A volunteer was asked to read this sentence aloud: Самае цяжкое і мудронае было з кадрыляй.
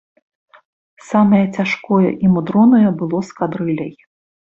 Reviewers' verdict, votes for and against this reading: accepted, 4, 0